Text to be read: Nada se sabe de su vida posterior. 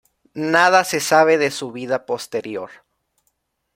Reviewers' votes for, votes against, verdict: 2, 1, accepted